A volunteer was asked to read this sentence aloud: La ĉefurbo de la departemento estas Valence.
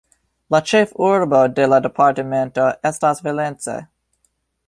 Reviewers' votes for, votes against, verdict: 1, 2, rejected